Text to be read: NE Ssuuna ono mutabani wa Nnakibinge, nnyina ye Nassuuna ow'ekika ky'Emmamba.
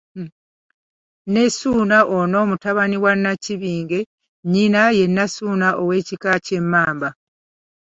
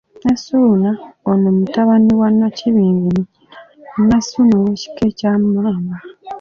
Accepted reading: first